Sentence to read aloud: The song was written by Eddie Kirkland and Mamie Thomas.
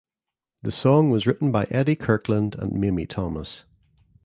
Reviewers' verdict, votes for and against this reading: rejected, 1, 2